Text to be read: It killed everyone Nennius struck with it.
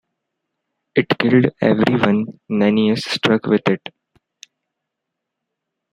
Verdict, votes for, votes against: accepted, 2, 1